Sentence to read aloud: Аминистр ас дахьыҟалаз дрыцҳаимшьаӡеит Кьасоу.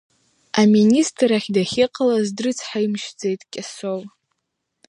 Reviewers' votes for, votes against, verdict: 2, 1, accepted